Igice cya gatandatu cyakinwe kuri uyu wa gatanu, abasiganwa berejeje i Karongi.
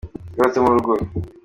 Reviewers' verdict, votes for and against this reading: rejected, 0, 2